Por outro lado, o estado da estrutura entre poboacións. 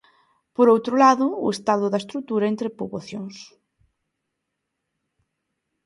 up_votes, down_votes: 2, 0